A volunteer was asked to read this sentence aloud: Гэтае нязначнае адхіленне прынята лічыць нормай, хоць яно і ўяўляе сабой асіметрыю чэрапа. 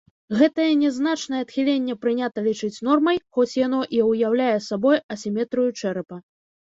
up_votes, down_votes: 2, 0